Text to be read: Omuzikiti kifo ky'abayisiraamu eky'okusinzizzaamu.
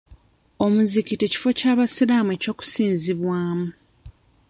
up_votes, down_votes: 0, 2